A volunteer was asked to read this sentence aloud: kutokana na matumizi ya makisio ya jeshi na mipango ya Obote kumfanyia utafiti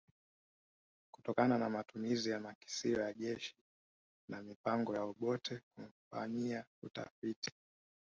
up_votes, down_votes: 1, 2